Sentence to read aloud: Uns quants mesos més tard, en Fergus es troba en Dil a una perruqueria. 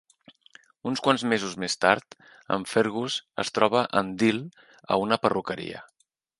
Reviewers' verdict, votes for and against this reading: accepted, 2, 0